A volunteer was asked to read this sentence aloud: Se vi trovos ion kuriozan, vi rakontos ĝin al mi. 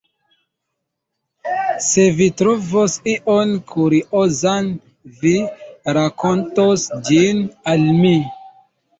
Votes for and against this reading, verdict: 0, 2, rejected